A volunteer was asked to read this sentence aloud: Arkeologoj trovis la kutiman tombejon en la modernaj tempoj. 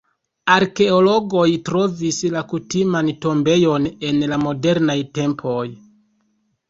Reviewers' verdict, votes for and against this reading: rejected, 0, 2